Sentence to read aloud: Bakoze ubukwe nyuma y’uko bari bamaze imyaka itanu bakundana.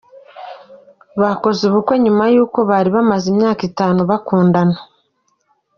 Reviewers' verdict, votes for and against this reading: accepted, 2, 0